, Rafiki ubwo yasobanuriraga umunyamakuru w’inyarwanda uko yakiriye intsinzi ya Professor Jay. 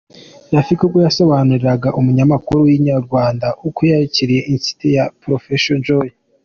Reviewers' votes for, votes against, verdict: 2, 1, accepted